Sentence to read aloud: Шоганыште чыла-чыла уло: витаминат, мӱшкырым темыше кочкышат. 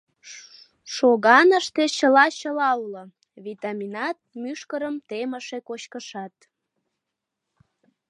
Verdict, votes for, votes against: rejected, 1, 2